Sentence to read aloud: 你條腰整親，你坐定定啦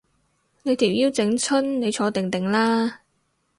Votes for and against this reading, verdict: 2, 0, accepted